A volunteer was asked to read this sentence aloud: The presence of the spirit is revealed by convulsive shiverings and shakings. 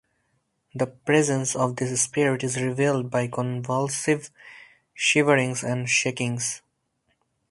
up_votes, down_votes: 2, 2